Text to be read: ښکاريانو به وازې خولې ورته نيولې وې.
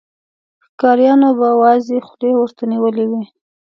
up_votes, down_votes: 2, 0